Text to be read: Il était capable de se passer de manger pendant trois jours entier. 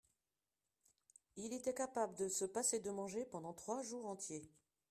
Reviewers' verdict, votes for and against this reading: rejected, 1, 2